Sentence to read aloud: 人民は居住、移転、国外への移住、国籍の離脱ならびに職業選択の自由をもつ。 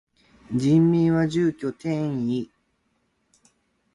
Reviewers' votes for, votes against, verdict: 0, 2, rejected